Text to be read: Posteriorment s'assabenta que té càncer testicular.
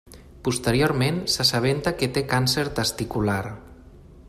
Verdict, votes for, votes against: accepted, 2, 0